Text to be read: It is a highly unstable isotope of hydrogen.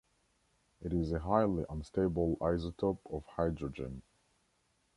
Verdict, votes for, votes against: accepted, 2, 0